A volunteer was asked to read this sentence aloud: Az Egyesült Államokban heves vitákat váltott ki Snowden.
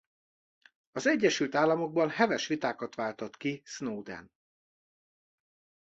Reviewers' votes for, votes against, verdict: 2, 0, accepted